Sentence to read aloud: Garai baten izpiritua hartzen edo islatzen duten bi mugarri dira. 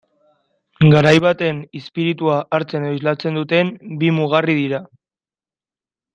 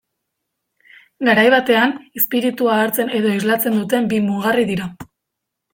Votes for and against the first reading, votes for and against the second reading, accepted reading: 6, 0, 1, 2, first